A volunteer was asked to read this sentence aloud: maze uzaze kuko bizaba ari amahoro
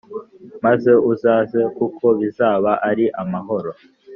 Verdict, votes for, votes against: accepted, 2, 0